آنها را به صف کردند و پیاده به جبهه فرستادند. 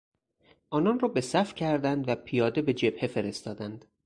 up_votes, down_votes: 0, 4